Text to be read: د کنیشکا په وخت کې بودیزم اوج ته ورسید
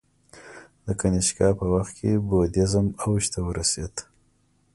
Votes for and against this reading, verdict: 2, 0, accepted